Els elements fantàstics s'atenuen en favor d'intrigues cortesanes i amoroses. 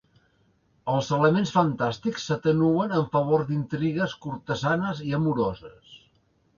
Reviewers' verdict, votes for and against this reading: accepted, 2, 1